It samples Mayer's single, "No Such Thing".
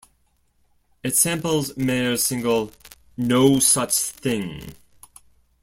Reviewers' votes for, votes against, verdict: 2, 0, accepted